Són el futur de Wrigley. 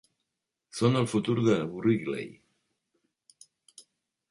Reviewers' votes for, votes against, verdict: 2, 0, accepted